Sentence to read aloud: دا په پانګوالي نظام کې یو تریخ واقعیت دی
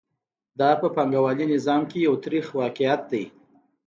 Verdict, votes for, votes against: accepted, 2, 0